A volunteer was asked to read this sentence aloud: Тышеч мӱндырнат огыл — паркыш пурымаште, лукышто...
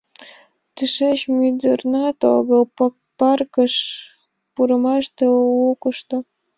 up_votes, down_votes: 1, 2